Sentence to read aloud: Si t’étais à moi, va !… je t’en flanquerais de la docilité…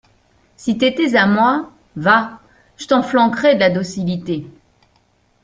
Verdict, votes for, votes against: accepted, 3, 0